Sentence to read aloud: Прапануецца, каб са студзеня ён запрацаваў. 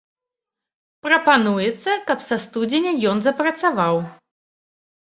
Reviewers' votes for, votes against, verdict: 4, 0, accepted